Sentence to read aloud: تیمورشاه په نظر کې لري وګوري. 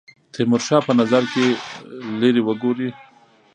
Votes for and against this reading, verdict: 1, 2, rejected